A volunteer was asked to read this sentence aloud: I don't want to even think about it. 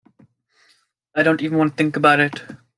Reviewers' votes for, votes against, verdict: 2, 1, accepted